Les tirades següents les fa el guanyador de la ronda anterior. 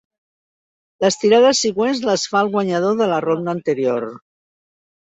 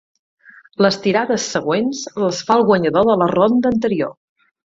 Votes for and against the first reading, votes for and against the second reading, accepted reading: 0, 2, 8, 0, second